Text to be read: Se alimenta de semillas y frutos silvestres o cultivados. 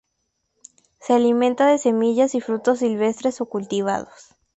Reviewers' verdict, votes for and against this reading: accepted, 4, 0